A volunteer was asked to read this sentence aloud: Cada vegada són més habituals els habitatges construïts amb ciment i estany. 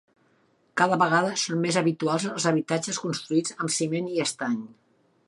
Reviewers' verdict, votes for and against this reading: accepted, 3, 0